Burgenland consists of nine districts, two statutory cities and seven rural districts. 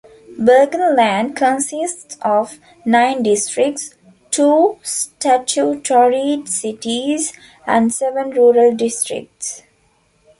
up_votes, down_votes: 2, 0